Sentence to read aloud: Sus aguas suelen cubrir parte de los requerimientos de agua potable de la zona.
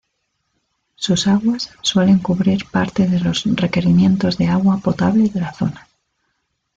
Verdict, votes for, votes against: accepted, 2, 0